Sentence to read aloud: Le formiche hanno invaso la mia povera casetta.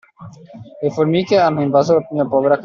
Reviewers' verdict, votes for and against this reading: rejected, 0, 2